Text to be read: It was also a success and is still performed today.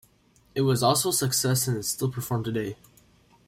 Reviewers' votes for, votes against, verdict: 1, 2, rejected